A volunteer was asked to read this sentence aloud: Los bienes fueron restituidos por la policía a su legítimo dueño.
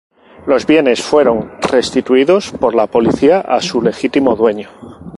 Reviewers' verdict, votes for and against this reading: accepted, 4, 0